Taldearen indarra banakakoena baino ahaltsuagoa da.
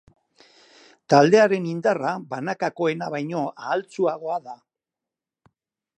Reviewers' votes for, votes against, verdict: 4, 0, accepted